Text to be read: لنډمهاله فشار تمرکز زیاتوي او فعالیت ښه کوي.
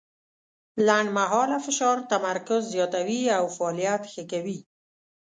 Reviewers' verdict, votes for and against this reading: accepted, 2, 0